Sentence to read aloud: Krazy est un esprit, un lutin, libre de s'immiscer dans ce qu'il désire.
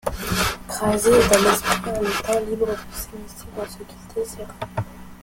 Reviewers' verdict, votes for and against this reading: rejected, 0, 2